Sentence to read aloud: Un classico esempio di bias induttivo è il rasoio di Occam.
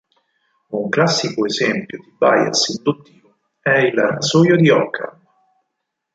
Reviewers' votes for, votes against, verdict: 2, 4, rejected